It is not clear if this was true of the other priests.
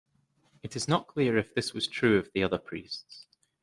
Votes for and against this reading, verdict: 2, 0, accepted